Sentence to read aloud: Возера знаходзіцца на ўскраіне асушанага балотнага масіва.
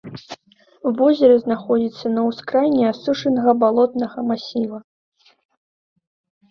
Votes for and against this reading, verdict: 2, 0, accepted